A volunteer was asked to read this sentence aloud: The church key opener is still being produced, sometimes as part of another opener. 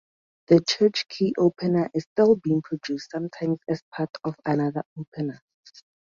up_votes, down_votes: 2, 0